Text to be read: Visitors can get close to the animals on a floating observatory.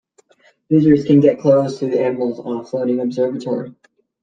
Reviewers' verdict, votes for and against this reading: rejected, 1, 2